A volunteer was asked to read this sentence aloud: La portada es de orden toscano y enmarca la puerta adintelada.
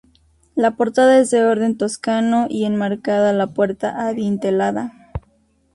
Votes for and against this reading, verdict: 0, 2, rejected